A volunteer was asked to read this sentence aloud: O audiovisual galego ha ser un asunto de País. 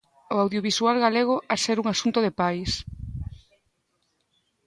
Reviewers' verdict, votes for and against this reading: rejected, 1, 2